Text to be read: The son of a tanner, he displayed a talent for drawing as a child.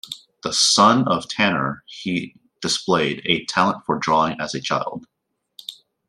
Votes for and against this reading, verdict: 0, 2, rejected